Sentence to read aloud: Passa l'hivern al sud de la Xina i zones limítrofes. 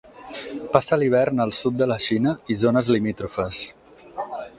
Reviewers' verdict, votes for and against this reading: accepted, 6, 2